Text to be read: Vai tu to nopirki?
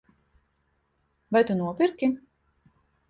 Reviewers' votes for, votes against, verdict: 0, 2, rejected